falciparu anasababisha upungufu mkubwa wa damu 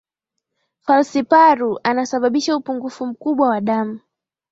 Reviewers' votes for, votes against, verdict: 5, 4, accepted